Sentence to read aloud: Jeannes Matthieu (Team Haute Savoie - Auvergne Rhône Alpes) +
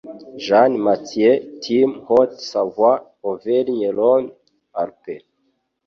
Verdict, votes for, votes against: rejected, 0, 2